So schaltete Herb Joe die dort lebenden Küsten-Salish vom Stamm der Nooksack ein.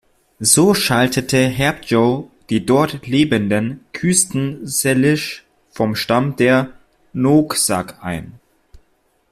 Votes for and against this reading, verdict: 2, 1, accepted